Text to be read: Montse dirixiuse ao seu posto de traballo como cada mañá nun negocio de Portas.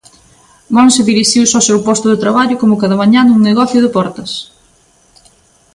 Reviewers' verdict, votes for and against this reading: accepted, 2, 0